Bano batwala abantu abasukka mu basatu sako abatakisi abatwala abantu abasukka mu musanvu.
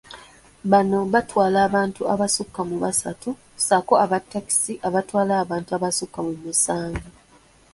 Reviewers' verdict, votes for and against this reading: accepted, 2, 0